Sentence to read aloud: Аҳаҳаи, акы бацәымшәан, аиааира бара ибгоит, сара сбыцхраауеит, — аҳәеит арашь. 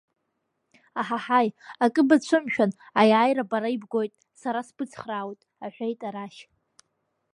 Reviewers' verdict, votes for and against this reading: accepted, 2, 0